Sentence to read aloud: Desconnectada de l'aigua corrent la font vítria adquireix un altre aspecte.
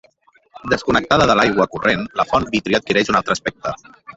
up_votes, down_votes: 0, 2